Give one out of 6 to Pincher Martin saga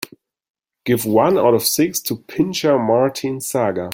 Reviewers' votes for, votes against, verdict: 0, 2, rejected